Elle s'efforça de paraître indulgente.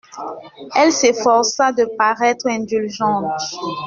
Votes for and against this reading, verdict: 0, 2, rejected